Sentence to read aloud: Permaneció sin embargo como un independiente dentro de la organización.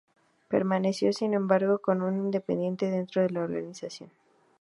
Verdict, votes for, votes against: accepted, 2, 0